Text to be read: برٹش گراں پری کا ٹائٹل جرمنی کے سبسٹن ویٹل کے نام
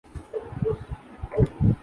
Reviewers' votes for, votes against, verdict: 0, 2, rejected